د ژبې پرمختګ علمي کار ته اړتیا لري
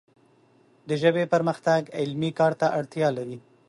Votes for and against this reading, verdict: 2, 0, accepted